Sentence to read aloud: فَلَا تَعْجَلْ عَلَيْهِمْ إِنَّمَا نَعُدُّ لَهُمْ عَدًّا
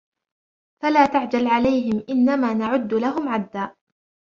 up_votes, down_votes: 1, 2